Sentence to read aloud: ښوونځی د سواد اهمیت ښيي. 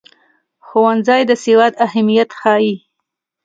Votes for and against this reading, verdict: 2, 0, accepted